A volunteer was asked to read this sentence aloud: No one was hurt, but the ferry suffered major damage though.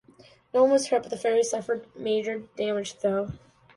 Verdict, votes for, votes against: accepted, 2, 0